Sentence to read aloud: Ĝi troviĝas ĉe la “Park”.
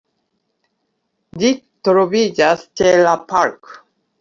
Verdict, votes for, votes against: accepted, 2, 0